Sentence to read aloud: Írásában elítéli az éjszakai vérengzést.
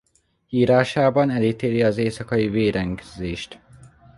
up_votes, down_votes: 1, 2